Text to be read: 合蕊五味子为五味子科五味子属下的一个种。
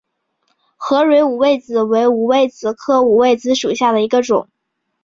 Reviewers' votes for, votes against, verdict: 2, 0, accepted